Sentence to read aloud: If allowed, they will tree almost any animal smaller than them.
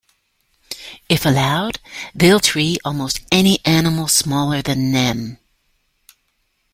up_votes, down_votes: 1, 2